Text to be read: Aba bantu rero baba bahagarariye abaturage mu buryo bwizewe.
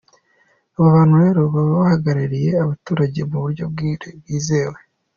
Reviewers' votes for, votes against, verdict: 2, 1, accepted